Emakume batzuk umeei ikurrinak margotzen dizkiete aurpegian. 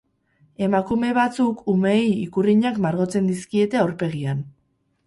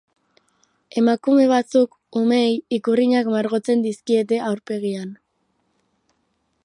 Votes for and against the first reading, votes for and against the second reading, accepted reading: 2, 2, 2, 0, second